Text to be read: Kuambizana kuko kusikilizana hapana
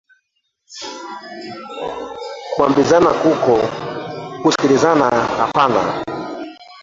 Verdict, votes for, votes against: rejected, 0, 2